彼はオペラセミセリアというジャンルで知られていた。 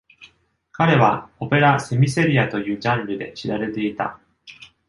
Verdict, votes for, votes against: accepted, 2, 0